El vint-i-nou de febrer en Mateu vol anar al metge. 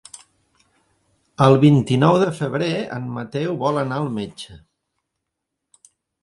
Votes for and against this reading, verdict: 3, 0, accepted